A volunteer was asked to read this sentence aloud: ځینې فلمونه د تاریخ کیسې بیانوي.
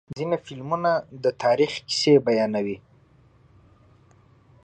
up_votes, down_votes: 2, 0